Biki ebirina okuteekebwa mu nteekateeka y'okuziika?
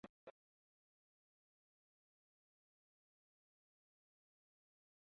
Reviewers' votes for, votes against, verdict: 0, 2, rejected